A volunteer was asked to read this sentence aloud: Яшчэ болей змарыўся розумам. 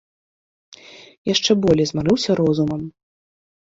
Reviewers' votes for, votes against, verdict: 2, 0, accepted